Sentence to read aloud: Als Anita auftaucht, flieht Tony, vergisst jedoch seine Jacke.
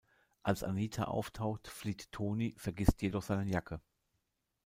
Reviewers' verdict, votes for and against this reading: accepted, 2, 0